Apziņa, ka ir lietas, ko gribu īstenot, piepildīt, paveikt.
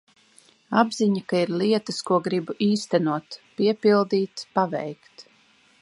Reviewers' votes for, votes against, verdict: 2, 0, accepted